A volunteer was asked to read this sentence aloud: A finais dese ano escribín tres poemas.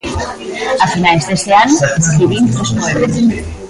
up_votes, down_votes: 0, 2